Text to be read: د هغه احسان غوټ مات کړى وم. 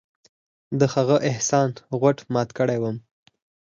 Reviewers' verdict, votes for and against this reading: accepted, 6, 2